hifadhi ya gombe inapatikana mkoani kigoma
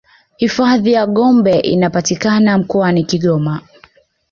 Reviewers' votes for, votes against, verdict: 2, 0, accepted